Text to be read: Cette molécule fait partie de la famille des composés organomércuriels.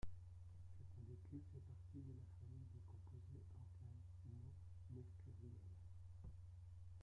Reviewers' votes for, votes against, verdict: 0, 2, rejected